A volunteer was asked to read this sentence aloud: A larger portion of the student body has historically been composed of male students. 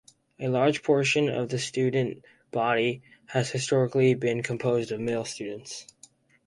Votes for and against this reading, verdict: 0, 2, rejected